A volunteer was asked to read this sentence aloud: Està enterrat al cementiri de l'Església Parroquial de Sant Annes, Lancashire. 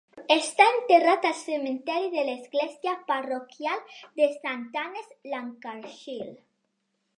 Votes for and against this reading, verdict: 0, 2, rejected